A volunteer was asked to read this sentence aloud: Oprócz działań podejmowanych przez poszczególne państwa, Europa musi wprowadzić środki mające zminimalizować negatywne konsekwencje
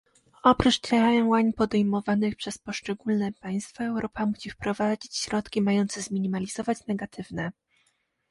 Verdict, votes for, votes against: rejected, 0, 2